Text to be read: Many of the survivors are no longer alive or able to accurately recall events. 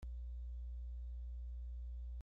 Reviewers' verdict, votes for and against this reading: rejected, 0, 2